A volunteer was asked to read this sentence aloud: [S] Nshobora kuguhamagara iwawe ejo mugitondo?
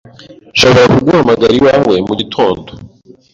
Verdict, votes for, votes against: rejected, 1, 2